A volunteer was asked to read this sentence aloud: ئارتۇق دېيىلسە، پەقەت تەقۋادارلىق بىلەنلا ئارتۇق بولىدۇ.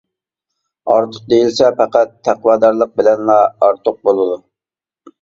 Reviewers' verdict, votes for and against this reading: accepted, 2, 0